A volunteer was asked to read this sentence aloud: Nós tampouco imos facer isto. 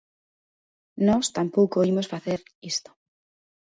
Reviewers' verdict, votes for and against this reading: accepted, 2, 1